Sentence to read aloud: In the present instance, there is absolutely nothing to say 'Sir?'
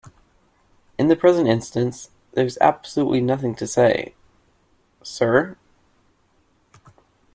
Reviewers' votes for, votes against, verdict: 2, 1, accepted